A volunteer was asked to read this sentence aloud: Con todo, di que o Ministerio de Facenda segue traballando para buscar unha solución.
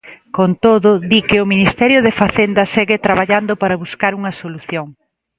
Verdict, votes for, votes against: rejected, 1, 2